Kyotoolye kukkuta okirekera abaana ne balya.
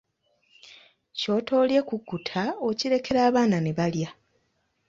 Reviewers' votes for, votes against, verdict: 2, 0, accepted